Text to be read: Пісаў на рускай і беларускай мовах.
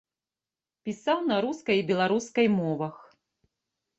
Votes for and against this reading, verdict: 2, 0, accepted